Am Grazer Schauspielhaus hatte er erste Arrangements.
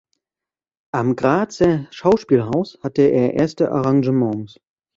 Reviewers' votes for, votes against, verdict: 1, 2, rejected